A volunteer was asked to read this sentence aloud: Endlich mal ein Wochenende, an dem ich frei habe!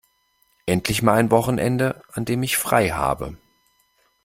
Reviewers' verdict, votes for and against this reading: accepted, 2, 0